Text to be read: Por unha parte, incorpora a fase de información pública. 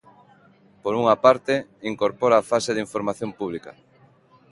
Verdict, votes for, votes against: accepted, 2, 0